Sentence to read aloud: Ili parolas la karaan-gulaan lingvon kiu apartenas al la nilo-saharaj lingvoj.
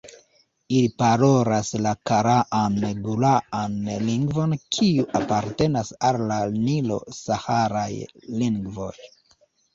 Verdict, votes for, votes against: accepted, 2, 1